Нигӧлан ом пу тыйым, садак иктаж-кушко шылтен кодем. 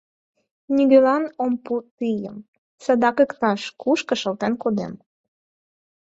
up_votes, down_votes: 4, 0